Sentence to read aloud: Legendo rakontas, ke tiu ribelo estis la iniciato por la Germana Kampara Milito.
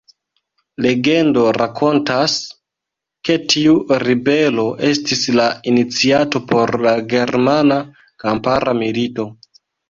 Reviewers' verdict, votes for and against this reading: accepted, 2, 0